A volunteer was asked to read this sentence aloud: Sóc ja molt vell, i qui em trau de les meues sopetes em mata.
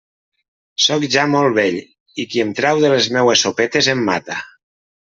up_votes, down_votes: 3, 0